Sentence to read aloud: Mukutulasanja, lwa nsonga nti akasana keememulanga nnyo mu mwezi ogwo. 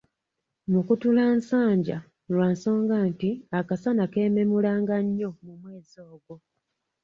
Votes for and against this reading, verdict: 2, 0, accepted